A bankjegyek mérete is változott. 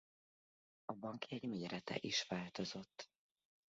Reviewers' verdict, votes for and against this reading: rejected, 0, 2